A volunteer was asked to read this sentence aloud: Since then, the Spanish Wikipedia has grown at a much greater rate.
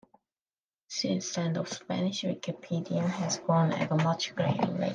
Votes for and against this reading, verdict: 2, 1, accepted